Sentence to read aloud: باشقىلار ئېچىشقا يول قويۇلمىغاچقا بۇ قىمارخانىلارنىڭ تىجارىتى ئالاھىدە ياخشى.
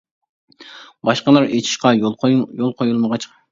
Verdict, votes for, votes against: rejected, 0, 2